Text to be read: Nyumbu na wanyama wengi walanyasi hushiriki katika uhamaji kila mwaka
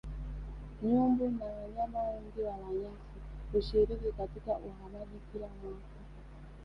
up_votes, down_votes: 1, 2